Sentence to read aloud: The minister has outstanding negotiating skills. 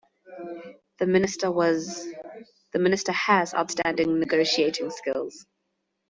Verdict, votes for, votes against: rejected, 1, 2